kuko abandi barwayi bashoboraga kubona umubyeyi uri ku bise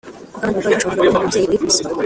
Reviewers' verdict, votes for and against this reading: rejected, 0, 2